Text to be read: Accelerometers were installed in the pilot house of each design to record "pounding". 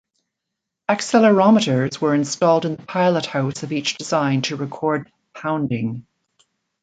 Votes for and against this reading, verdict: 1, 2, rejected